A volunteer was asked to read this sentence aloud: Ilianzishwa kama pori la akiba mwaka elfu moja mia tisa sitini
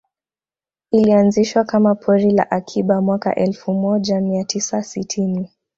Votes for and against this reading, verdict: 2, 0, accepted